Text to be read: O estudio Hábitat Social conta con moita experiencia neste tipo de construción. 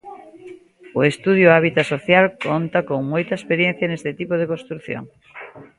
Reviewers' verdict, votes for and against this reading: accepted, 2, 0